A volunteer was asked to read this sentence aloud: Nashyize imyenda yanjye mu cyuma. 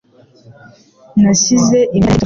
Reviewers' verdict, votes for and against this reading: rejected, 1, 2